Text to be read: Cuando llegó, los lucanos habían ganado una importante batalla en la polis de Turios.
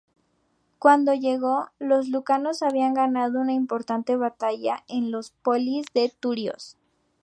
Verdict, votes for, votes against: rejected, 0, 2